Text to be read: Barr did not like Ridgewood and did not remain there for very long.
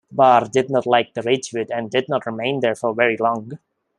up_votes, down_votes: 0, 2